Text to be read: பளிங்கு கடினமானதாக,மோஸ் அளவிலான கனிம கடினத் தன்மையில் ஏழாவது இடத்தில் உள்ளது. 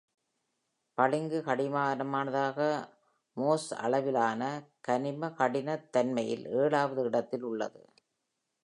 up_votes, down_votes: 1, 2